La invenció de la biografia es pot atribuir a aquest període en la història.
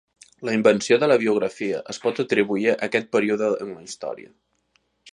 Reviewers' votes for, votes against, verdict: 1, 2, rejected